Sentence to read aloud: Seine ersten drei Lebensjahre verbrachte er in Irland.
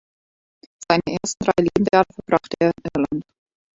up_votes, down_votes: 0, 2